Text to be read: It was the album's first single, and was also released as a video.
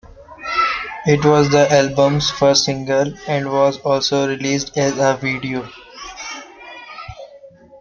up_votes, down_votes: 0, 2